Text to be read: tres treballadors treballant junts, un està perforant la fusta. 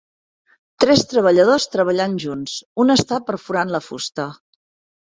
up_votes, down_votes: 5, 0